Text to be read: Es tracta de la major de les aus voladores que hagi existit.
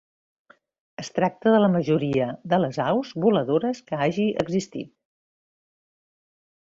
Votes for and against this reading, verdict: 0, 2, rejected